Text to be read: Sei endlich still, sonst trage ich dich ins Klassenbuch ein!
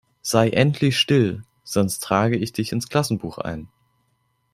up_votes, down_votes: 2, 0